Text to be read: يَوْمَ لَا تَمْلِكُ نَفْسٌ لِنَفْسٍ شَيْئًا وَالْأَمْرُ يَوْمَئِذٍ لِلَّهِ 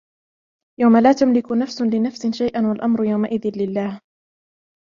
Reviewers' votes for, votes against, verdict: 0, 2, rejected